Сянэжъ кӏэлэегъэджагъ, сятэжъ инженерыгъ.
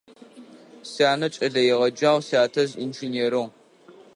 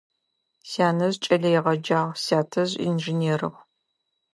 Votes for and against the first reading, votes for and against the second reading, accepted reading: 0, 2, 2, 0, second